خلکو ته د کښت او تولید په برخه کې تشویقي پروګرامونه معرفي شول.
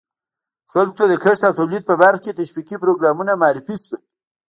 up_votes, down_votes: 0, 2